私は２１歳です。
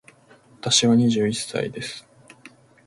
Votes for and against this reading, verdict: 0, 2, rejected